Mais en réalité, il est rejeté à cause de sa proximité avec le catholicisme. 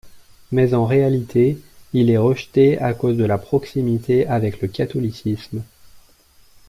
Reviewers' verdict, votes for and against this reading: rejected, 0, 2